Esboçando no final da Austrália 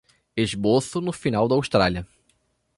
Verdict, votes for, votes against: rejected, 1, 2